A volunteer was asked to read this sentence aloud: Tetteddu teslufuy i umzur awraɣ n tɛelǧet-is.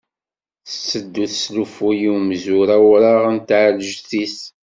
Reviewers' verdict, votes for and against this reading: accepted, 2, 0